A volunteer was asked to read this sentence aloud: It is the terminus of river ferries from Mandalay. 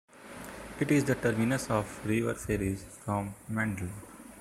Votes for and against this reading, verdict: 0, 2, rejected